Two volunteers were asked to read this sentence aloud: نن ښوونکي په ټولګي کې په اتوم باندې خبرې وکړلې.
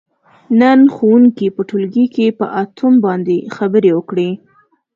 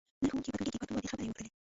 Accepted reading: first